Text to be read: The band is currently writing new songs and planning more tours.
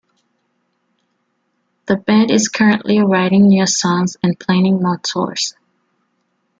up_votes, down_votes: 2, 0